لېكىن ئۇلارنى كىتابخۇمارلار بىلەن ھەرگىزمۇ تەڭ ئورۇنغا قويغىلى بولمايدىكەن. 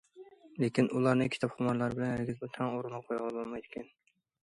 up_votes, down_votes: 2, 1